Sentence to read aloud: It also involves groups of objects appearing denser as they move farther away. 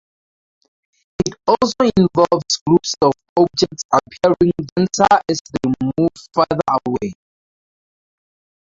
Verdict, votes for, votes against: rejected, 0, 2